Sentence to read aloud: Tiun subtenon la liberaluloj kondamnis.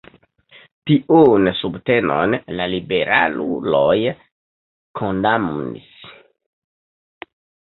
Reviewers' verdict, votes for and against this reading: rejected, 0, 2